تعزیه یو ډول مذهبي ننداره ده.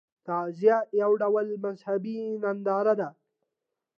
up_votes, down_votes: 2, 0